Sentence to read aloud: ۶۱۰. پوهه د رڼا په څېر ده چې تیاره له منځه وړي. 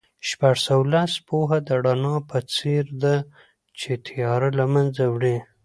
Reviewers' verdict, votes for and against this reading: rejected, 0, 2